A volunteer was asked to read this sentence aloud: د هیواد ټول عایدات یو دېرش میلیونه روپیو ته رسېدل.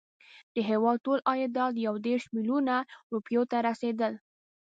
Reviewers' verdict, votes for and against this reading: accepted, 2, 0